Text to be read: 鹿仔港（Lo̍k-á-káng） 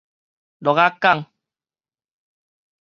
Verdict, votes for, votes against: accepted, 4, 0